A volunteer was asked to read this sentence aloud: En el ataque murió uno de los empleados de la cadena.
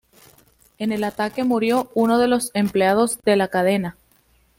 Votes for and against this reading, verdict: 2, 0, accepted